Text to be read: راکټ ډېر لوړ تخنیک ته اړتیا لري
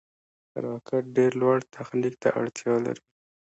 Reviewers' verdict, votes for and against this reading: rejected, 1, 2